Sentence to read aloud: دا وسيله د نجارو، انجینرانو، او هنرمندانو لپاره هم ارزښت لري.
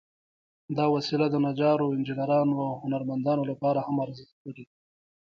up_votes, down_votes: 1, 2